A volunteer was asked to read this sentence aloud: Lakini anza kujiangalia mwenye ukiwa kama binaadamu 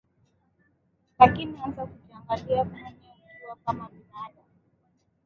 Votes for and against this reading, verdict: 7, 5, accepted